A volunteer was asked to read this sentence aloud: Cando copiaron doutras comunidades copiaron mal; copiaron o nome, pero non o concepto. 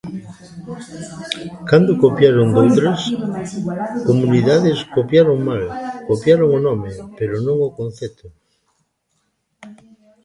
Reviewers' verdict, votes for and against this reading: rejected, 0, 3